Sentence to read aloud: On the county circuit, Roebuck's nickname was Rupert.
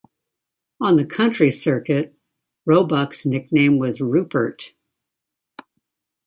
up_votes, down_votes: 1, 2